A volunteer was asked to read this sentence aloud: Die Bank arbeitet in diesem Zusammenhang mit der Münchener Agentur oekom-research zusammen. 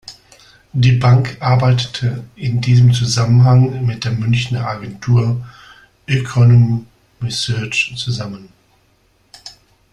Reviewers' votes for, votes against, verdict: 0, 2, rejected